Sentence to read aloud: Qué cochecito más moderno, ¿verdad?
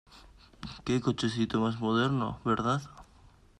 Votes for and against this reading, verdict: 2, 0, accepted